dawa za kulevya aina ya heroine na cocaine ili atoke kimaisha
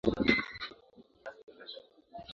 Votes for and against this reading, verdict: 0, 2, rejected